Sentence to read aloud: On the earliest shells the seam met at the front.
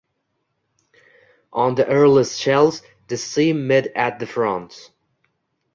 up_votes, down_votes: 1, 2